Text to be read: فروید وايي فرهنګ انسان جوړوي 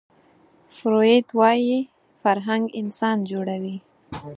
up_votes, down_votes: 4, 0